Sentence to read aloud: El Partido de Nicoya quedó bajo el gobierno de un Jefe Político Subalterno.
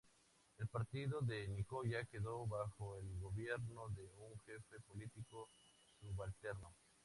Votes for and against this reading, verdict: 2, 0, accepted